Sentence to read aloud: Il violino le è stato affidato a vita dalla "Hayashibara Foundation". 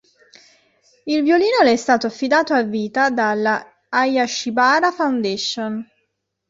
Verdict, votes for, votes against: accepted, 2, 0